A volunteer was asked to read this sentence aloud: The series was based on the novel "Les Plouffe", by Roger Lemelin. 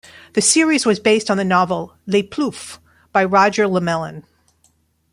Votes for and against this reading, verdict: 2, 0, accepted